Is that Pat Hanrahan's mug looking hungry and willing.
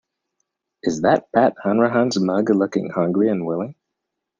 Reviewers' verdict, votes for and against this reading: accepted, 2, 0